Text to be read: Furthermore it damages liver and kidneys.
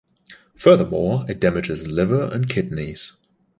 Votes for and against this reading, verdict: 2, 0, accepted